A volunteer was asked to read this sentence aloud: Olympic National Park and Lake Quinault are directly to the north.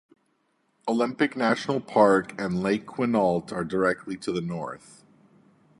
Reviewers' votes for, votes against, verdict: 2, 0, accepted